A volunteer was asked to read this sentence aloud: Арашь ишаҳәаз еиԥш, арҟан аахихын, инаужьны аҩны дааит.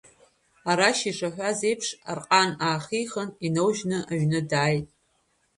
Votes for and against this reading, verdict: 2, 0, accepted